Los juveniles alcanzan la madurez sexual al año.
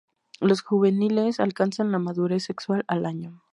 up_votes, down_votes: 4, 0